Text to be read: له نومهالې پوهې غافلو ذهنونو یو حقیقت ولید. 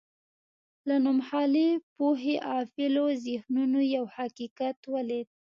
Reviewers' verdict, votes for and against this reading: accepted, 2, 0